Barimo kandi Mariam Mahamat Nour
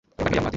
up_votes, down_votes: 1, 2